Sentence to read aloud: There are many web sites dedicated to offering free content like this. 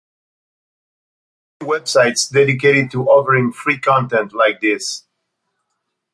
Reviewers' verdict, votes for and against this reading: rejected, 0, 2